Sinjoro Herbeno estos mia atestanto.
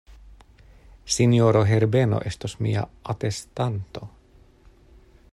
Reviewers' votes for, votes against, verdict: 2, 0, accepted